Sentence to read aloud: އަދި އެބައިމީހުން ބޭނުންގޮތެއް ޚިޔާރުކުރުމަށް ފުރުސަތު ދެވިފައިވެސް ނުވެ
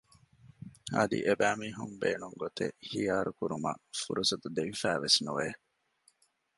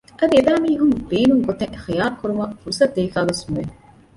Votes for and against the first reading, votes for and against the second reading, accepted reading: 2, 0, 0, 2, first